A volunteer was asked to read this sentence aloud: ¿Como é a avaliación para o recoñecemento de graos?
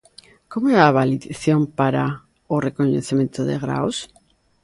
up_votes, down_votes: 0, 2